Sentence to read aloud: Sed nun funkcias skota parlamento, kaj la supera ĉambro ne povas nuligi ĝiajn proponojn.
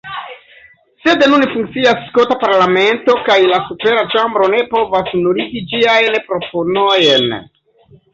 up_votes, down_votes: 0, 2